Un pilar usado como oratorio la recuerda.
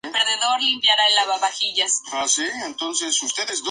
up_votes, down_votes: 0, 2